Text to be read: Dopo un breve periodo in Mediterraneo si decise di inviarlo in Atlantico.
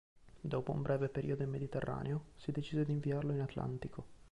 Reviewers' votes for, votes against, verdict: 1, 2, rejected